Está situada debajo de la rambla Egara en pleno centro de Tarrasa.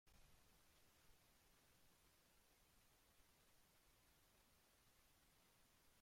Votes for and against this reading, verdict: 0, 2, rejected